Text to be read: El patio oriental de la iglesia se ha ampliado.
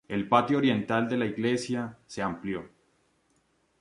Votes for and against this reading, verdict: 0, 2, rejected